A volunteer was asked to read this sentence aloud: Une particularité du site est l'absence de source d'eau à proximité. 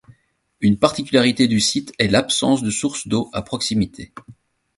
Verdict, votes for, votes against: accepted, 2, 0